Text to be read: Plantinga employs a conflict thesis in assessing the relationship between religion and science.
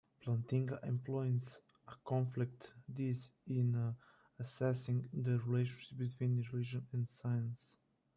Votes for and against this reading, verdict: 0, 2, rejected